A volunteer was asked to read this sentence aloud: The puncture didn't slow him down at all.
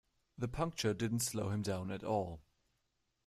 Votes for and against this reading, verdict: 2, 0, accepted